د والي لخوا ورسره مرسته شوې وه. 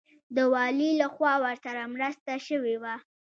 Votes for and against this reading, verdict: 2, 0, accepted